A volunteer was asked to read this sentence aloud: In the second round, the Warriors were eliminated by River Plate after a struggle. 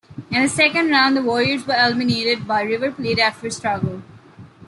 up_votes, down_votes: 2, 0